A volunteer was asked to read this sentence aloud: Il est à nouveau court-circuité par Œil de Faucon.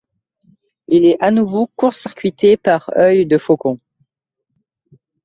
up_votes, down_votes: 2, 0